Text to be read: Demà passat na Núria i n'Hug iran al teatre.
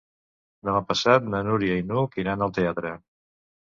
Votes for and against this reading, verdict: 2, 0, accepted